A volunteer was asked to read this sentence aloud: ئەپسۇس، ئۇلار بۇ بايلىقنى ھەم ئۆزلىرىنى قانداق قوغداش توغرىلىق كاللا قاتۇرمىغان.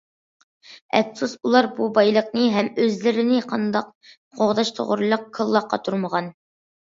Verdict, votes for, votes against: accepted, 2, 0